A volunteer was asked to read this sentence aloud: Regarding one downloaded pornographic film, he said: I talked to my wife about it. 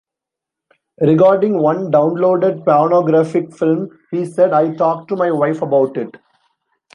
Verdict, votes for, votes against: accepted, 3, 1